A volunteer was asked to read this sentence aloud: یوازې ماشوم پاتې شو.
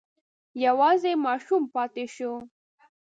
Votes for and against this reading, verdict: 2, 0, accepted